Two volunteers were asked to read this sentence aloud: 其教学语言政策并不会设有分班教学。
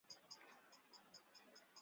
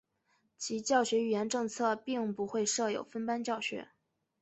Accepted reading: second